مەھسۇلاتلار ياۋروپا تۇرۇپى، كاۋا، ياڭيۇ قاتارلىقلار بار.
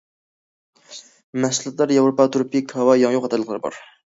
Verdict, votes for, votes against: rejected, 1, 2